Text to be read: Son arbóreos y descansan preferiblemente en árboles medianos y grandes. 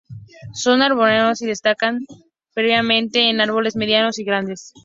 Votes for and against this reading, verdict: 2, 2, rejected